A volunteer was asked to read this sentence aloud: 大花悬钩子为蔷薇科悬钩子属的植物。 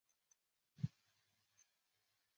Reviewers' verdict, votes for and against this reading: rejected, 0, 2